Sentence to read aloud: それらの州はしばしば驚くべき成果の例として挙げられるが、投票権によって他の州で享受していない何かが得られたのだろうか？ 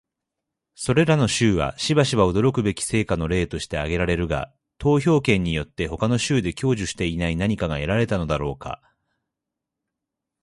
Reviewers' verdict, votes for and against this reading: accepted, 2, 0